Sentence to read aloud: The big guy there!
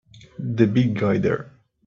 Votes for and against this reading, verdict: 4, 0, accepted